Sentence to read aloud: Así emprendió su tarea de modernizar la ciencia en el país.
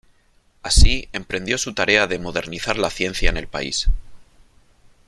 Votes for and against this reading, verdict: 2, 1, accepted